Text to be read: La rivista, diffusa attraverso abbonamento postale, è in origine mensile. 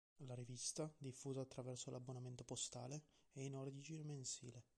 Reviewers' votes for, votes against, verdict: 0, 2, rejected